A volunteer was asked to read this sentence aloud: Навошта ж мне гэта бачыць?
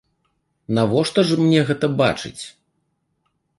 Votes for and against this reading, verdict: 2, 0, accepted